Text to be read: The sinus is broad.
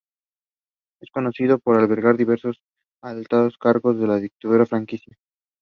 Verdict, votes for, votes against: rejected, 0, 2